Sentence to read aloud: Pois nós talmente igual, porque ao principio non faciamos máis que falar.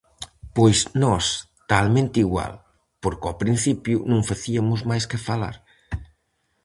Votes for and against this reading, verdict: 0, 4, rejected